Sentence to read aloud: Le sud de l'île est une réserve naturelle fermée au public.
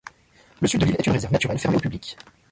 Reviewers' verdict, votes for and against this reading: rejected, 1, 2